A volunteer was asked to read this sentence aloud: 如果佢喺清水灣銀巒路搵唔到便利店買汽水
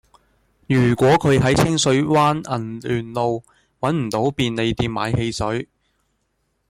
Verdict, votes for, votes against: rejected, 0, 2